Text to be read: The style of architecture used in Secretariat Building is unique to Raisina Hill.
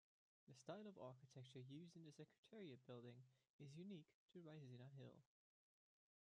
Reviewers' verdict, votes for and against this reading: rejected, 1, 2